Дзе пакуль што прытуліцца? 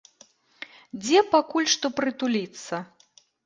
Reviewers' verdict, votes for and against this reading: accepted, 2, 0